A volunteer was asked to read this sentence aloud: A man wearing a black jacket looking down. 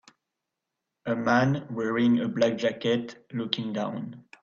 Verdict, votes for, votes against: accepted, 2, 0